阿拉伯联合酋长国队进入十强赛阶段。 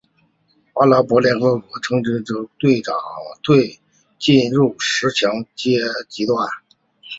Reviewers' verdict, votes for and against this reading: rejected, 0, 4